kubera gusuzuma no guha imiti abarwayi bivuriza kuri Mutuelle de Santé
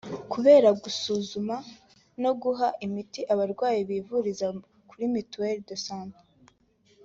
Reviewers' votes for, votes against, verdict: 2, 0, accepted